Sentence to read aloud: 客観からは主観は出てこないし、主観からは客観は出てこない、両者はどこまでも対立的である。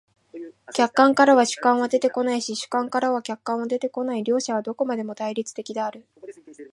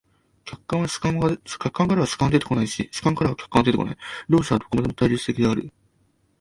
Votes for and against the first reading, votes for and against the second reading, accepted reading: 2, 0, 3, 4, first